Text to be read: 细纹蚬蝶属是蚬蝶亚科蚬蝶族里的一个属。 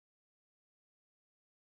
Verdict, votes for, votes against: rejected, 3, 4